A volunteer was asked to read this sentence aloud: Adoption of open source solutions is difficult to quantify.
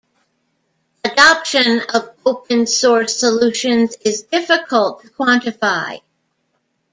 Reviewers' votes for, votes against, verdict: 1, 2, rejected